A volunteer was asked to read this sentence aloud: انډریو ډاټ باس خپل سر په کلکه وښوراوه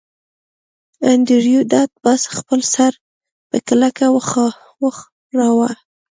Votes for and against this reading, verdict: 3, 0, accepted